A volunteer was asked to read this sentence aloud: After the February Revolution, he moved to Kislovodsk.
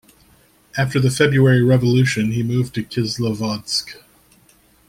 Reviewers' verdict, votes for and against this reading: accepted, 2, 0